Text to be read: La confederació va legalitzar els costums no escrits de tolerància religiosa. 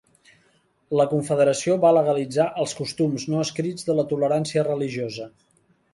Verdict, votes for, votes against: rejected, 2, 3